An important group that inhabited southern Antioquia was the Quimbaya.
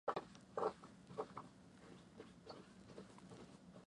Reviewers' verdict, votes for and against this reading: rejected, 0, 2